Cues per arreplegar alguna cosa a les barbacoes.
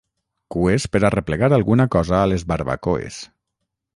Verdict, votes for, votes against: accepted, 6, 0